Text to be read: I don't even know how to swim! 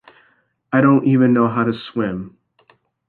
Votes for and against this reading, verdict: 2, 0, accepted